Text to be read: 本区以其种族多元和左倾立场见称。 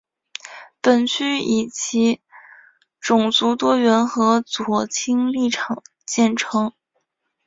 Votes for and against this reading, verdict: 4, 1, accepted